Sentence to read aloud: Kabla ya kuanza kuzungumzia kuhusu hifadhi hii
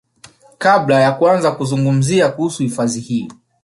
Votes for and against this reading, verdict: 1, 2, rejected